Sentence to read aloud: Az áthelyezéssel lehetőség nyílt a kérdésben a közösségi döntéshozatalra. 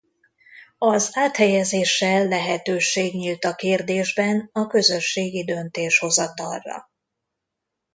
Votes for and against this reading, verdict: 2, 0, accepted